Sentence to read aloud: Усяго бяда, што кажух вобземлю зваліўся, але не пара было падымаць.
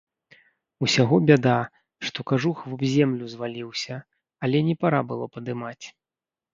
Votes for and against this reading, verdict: 1, 2, rejected